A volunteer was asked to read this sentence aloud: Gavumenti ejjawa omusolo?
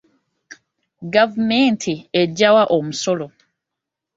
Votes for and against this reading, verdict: 2, 0, accepted